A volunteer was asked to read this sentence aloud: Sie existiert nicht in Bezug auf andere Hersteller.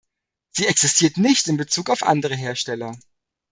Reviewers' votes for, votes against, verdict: 2, 0, accepted